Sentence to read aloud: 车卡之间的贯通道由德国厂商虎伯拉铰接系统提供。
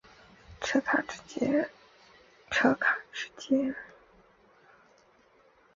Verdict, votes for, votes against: accepted, 3, 1